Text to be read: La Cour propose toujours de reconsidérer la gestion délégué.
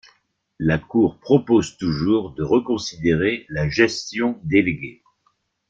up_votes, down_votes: 3, 0